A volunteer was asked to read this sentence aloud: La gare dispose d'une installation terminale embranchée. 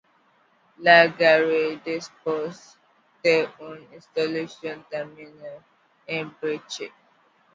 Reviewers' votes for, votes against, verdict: 0, 2, rejected